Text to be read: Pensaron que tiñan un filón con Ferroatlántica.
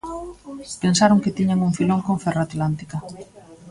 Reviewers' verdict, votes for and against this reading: rejected, 1, 2